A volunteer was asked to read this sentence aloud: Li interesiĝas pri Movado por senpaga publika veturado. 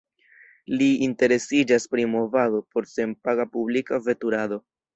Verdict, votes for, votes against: accepted, 2, 0